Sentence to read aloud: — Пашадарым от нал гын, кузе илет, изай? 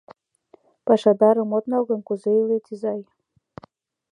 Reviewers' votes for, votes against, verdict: 2, 0, accepted